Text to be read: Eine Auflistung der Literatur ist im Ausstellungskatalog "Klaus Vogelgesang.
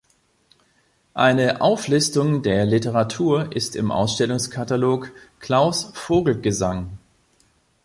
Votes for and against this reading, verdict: 2, 0, accepted